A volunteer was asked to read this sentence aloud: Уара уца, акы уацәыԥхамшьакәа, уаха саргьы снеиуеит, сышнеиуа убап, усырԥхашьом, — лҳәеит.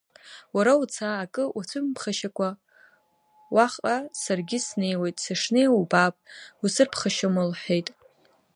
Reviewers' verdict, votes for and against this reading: rejected, 0, 2